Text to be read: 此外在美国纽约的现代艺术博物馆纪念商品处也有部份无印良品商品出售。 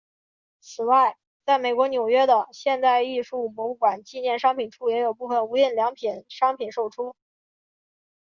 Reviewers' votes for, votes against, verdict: 4, 1, accepted